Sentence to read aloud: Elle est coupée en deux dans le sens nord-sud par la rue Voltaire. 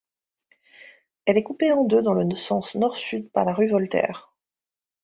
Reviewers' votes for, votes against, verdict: 1, 2, rejected